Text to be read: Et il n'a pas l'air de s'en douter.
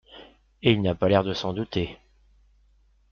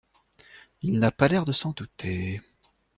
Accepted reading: first